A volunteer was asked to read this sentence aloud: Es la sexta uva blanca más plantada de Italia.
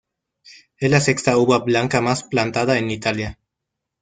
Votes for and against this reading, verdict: 0, 2, rejected